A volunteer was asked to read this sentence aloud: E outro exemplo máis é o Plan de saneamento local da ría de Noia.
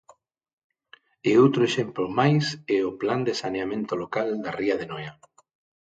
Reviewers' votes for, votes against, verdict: 6, 0, accepted